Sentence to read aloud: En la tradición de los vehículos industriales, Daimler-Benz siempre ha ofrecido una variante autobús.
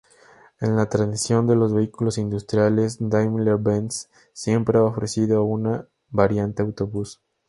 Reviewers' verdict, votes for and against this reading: accepted, 2, 0